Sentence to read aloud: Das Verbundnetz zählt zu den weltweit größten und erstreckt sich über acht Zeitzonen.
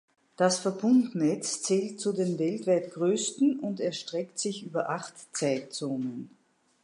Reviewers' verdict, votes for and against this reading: accepted, 2, 0